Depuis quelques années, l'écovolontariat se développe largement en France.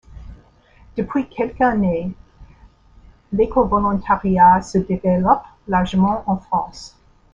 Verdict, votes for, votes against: accepted, 2, 0